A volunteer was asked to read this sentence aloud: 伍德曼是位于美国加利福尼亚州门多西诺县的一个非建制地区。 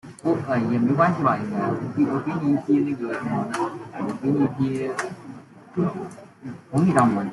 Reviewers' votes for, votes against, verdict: 0, 2, rejected